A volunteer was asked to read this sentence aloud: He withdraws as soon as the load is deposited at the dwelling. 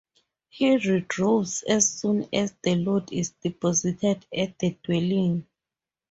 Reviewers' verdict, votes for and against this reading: rejected, 0, 2